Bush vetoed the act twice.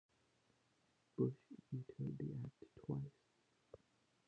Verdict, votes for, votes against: rejected, 0, 2